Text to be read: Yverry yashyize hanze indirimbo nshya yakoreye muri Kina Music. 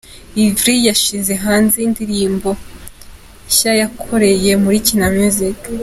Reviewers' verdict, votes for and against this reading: accepted, 2, 1